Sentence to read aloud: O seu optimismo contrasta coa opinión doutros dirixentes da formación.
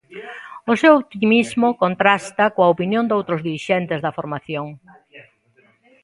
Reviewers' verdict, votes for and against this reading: rejected, 0, 2